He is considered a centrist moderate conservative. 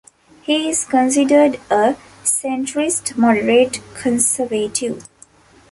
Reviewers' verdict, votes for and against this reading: rejected, 1, 2